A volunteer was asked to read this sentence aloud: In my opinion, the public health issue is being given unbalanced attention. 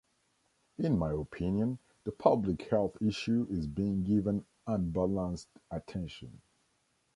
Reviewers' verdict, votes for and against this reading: rejected, 1, 2